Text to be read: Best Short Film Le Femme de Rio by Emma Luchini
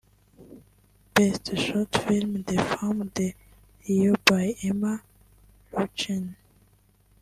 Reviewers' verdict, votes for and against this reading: rejected, 1, 2